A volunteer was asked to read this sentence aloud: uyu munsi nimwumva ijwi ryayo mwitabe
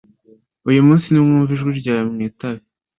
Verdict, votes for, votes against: accepted, 2, 0